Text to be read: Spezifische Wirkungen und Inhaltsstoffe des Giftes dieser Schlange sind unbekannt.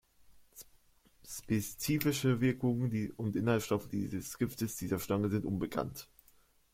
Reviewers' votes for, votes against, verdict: 0, 2, rejected